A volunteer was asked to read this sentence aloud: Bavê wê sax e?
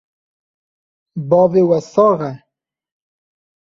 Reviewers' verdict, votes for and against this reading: rejected, 0, 2